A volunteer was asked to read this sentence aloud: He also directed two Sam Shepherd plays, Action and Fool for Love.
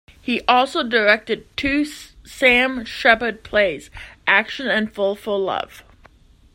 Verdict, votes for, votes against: accepted, 2, 1